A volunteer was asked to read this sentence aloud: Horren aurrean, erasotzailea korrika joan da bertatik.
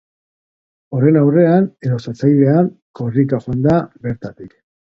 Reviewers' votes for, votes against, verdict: 2, 0, accepted